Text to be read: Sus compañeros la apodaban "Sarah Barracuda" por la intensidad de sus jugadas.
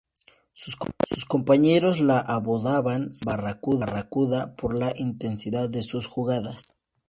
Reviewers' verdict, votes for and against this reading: rejected, 0, 2